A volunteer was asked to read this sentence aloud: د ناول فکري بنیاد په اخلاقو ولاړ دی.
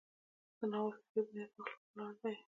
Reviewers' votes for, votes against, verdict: 2, 1, accepted